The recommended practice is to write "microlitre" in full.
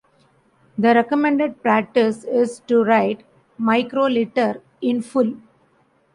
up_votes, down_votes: 2, 0